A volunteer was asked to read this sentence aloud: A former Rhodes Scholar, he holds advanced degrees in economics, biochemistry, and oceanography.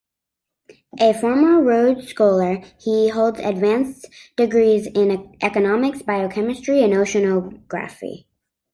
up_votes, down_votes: 2, 1